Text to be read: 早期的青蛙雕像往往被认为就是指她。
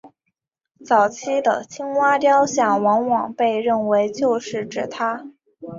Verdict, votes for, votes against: accepted, 7, 1